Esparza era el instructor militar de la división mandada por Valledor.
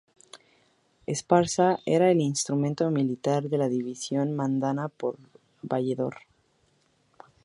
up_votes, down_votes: 2, 2